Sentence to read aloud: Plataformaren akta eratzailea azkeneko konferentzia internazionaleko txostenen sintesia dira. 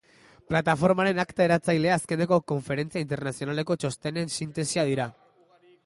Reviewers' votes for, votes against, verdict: 2, 0, accepted